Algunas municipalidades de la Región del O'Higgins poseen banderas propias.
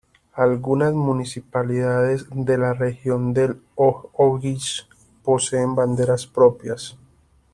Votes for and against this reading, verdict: 1, 2, rejected